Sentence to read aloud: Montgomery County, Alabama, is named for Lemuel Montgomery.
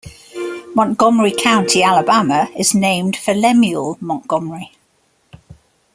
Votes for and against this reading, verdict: 2, 0, accepted